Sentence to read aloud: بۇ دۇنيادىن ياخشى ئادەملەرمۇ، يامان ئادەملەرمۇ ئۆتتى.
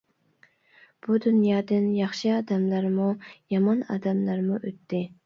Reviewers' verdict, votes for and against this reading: accepted, 2, 0